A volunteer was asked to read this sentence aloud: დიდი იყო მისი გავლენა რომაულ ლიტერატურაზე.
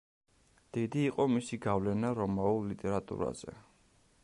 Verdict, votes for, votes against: accepted, 2, 0